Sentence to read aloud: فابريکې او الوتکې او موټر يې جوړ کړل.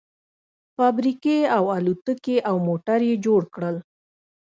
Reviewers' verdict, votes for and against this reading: accepted, 2, 0